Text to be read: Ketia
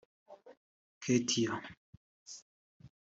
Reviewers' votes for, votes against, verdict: 3, 1, accepted